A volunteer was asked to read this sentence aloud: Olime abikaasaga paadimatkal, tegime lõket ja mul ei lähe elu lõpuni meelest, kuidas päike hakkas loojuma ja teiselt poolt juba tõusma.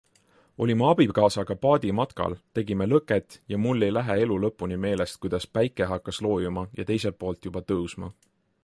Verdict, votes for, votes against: accepted, 3, 0